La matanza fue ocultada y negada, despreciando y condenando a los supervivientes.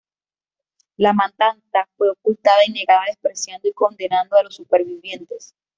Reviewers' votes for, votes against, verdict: 2, 3, rejected